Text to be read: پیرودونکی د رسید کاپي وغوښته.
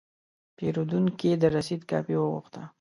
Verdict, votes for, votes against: accepted, 2, 0